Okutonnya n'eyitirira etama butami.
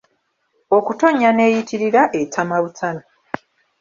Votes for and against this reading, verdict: 0, 2, rejected